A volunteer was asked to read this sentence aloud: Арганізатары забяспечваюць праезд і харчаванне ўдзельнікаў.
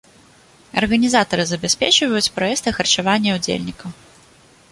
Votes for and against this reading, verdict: 1, 2, rejected